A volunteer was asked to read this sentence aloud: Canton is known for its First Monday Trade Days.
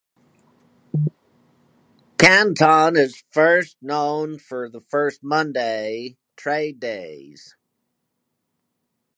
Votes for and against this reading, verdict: 2, 4, rejected